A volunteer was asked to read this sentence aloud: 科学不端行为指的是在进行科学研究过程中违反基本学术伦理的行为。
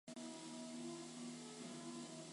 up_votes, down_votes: 0, 2